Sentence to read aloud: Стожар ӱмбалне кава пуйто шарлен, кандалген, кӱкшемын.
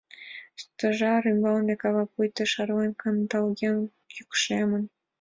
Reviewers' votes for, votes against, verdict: 2, 0, accepted